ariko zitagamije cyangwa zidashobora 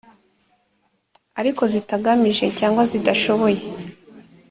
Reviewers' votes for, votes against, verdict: 0, 2, rejected